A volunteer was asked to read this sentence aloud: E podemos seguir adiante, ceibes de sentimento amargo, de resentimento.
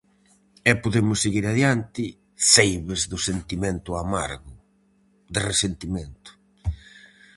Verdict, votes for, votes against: rejected, 0, 4